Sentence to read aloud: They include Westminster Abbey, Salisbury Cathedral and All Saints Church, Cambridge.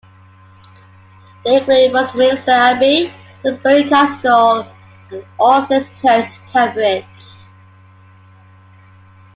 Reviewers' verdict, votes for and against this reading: rejected, 0, 2